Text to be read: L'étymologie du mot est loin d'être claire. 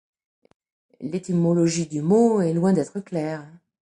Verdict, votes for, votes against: accepted, 2, 0